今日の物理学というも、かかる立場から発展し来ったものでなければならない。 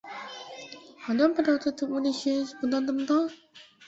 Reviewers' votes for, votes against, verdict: 0, 2, rejected